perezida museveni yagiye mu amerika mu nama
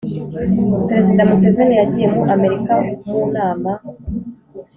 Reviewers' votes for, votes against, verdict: 2, 0, accepted